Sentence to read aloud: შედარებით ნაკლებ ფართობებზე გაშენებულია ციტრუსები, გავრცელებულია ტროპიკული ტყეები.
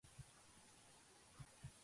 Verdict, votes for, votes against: rejected, 0, 2